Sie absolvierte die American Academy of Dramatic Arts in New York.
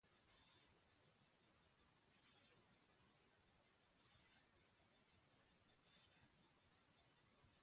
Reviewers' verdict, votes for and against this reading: rejected, 0, 2